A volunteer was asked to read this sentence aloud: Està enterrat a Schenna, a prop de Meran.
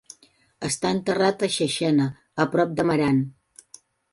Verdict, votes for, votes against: rejected, 0, 2